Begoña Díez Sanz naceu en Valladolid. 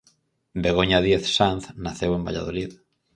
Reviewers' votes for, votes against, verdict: 4, 0, accepted